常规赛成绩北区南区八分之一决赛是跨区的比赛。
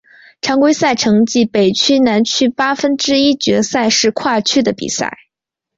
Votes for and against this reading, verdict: 3, 1, accepted